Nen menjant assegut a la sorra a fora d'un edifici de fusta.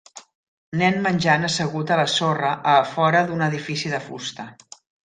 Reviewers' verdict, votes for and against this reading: accepted, 3, 0